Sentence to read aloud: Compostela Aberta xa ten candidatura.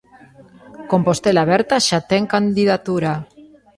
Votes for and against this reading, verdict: 1, 2, rejected